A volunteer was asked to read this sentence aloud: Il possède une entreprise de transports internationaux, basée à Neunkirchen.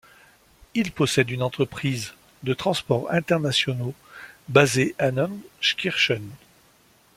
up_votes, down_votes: 1, 2